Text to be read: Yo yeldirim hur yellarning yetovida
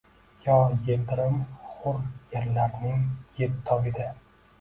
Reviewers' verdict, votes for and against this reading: rejected, 0, 2